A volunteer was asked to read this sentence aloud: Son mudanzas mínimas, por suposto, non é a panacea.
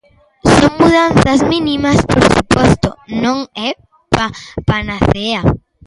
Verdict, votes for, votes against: rejected, 1, 2